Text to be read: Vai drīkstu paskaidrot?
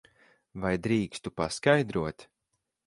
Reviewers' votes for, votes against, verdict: 16, 0, accepted